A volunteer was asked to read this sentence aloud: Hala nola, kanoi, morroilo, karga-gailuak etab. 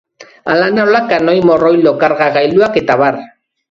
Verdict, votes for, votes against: accepted, 3, 0